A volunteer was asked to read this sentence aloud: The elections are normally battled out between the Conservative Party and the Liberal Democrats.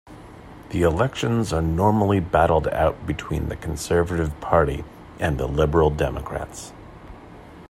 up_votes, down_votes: 2, 0